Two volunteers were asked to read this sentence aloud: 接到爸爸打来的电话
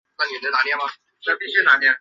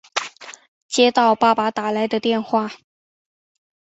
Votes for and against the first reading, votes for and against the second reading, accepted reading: 0, 6, 3, 1, second